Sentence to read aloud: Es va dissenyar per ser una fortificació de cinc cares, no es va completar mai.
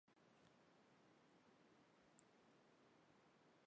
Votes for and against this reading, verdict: 0, 2, rejected